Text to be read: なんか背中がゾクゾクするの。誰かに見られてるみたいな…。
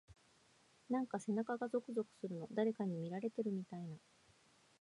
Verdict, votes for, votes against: rejected, 1, 2